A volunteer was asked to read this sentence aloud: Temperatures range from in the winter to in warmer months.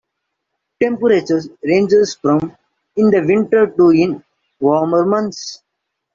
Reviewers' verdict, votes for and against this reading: rejected, 0, 2